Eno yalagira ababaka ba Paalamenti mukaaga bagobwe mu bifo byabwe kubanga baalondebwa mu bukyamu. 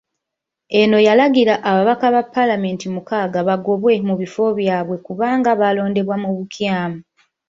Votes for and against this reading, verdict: 2, 0, accepted